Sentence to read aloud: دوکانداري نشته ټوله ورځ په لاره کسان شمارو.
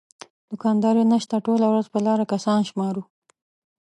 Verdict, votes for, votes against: accepted, 2, 0